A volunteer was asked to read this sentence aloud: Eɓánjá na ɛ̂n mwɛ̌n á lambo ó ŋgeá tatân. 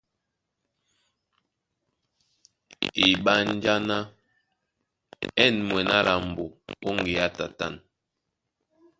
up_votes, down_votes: 1, 2